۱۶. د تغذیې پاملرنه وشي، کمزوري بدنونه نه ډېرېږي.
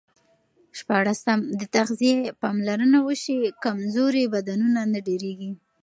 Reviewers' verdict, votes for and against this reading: rejected, 0, 2